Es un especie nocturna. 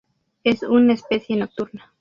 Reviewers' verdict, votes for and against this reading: rejected, 0, 2